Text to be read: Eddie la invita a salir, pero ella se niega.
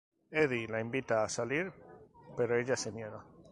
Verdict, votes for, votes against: accepted, 4, 0